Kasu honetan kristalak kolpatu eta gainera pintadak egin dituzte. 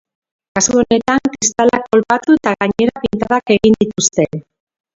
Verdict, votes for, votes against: rejected, 0, 2